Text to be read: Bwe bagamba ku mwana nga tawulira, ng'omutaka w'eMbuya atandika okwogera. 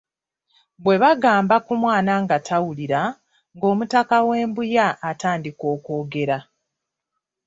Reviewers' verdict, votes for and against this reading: rejected, 1, 2